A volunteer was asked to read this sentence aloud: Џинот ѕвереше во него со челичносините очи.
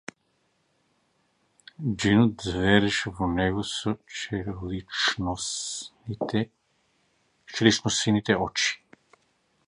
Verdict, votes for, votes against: rejected, 0, 2